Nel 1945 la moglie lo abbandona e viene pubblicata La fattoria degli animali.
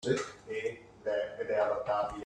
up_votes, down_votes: 0, 2